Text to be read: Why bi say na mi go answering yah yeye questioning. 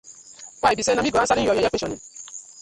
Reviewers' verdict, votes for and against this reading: rejected, 1, 2